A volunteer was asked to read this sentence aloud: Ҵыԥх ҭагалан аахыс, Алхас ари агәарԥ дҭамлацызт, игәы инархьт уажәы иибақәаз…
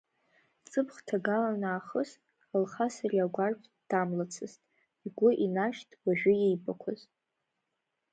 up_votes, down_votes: 1, 2